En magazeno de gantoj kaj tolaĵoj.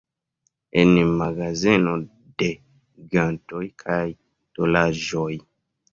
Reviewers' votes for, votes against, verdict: 2, 0, accepted